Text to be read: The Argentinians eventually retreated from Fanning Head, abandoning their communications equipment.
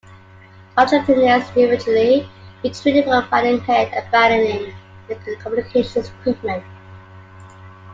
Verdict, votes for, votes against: rejected, 1, 2